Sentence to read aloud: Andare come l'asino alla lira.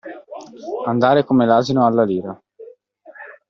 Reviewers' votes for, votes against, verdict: 2, 0, accepted